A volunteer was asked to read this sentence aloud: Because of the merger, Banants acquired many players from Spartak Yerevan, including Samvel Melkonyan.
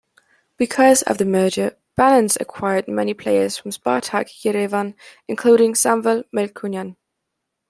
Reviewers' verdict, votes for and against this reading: accepted, 2, 0